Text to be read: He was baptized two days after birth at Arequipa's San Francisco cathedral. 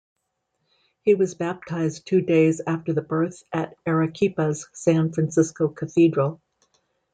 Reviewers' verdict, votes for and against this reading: accepted, 2, 1